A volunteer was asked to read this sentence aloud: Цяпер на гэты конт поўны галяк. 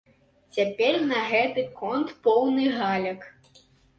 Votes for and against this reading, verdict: 0, 2, rejected